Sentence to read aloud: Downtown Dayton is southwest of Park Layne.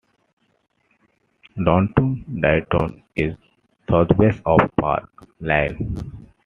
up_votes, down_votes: 1, 2